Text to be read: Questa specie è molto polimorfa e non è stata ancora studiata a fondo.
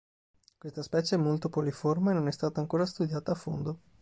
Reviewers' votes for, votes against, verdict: 2, 5, rejected